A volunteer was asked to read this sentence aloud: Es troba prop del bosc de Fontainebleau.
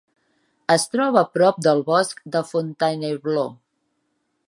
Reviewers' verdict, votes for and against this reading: accepted, 3, 0